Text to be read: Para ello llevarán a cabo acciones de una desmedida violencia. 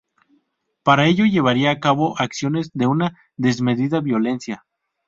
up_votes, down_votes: 0, 2